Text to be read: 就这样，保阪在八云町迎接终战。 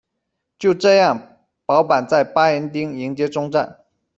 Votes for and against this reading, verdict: 1, 2, rejected